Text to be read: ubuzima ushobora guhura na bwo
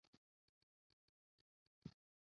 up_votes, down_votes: 0, 2